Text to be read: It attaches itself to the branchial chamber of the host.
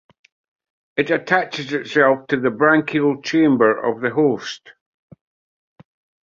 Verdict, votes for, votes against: rejected, 0, 2